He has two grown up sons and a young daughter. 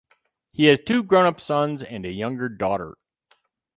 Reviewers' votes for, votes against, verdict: 2, 4, rejected